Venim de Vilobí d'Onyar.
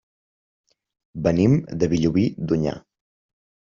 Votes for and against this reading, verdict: 1, 2, rejected